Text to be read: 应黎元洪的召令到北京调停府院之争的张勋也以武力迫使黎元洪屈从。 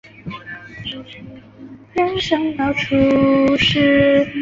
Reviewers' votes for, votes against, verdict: 0, 2, rejected